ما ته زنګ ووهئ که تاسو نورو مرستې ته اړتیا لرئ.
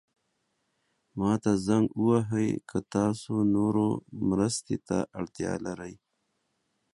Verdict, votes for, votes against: accepted, 3, 0